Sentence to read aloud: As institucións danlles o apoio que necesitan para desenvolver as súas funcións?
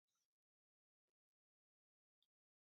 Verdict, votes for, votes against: rejected, 0, 6